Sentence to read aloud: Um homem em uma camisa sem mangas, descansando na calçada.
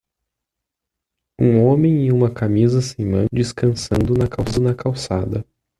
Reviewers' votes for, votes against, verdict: 0, 2, rejected